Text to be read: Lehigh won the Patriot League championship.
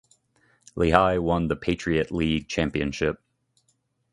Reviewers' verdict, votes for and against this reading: accepted, 2, 0